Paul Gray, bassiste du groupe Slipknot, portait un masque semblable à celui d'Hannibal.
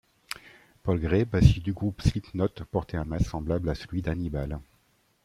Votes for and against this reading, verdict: 1, 2, rejected